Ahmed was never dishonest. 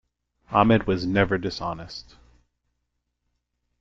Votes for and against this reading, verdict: 2, 0, accepted